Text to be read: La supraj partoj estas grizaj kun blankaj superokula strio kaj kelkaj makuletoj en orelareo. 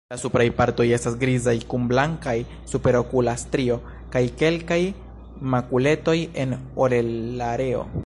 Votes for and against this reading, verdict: 1, 2, rejected